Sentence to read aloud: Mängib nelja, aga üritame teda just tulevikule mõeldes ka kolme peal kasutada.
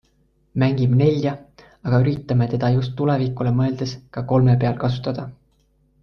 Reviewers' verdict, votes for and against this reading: accepted, 2, 0